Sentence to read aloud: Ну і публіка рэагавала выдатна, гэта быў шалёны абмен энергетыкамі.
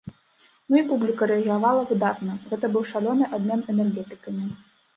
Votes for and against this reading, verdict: 0, 2, rejected